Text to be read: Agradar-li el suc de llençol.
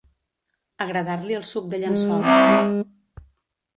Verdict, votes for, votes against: rejected, 0, 2